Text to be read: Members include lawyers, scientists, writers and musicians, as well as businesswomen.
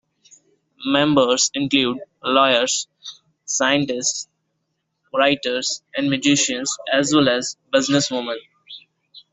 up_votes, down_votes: 1, 2